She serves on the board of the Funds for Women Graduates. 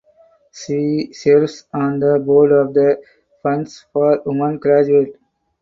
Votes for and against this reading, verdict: 4, 2, accepted